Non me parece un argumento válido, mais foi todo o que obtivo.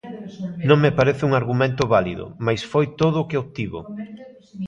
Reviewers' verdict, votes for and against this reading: rejected, 0, 2